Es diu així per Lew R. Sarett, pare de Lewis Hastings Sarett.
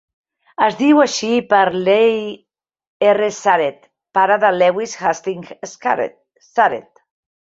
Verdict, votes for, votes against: rejected, 0, 2